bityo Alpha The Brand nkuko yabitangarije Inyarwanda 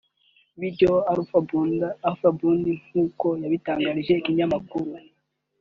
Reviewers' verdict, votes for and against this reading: rejected, 1, 3